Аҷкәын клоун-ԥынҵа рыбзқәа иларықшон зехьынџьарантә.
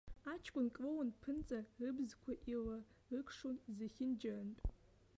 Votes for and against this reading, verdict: 1, 2, rejected